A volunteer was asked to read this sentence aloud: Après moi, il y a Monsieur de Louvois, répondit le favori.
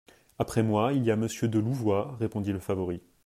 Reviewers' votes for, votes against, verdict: 2, 0, accepted